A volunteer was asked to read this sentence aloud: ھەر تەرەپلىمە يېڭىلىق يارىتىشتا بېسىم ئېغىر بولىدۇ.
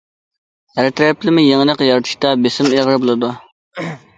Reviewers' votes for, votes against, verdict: 2, 0, accepted